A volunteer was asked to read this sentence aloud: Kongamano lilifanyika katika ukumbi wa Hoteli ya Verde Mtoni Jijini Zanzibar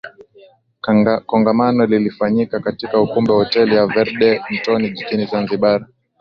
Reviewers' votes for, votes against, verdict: 8, 2, accepted